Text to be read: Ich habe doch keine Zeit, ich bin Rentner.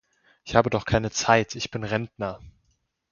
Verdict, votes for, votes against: accepted, 2, 0